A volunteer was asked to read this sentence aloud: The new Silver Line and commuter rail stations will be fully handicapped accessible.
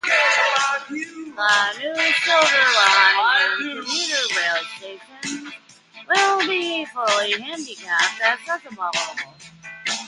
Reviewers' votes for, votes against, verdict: 0, 2, rejected